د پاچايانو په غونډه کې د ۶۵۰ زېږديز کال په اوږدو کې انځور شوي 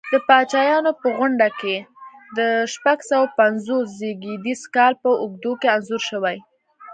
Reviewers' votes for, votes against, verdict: 0, 2, rejected